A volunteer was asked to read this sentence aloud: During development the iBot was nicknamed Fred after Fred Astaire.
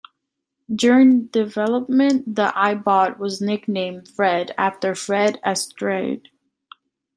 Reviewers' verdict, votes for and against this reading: accepted, 2, 1